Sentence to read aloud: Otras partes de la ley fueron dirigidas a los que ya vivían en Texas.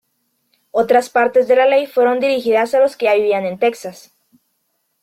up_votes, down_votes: 2, 0